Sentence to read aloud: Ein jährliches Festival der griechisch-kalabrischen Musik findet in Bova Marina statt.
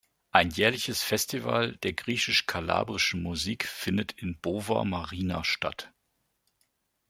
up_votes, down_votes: 1, 2